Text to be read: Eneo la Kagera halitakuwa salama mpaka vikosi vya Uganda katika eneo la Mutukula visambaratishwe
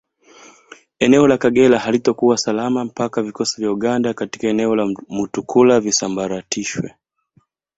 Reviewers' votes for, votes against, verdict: 4, 1, accepted